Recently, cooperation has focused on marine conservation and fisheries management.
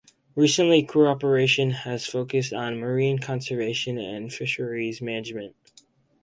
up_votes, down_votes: 4, 0